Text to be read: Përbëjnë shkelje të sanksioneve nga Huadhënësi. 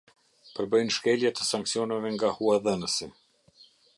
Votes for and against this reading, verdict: 2, 0, accepted